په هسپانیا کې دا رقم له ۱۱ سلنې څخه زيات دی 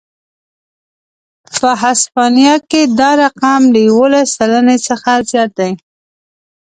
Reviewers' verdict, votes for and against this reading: rejected, 0, 2